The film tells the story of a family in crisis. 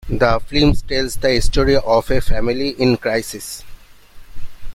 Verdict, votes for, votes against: accepted, 2, 0